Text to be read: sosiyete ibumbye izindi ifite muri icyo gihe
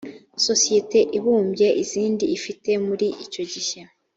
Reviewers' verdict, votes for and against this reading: accepted, 2, 0